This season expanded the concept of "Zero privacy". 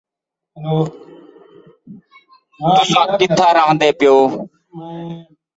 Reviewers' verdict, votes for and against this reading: rejected, 0, 2